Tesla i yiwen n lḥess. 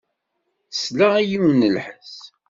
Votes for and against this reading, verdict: 2, 0, accepted